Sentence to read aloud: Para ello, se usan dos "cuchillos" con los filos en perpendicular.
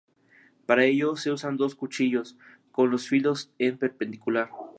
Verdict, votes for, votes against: accepted, 2, 0